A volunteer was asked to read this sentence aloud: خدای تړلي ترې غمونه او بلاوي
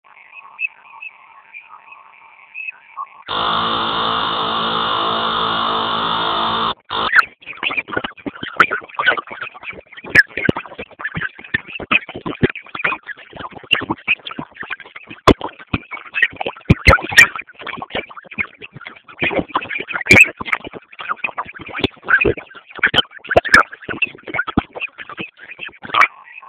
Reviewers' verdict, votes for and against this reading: rejected, 0, 2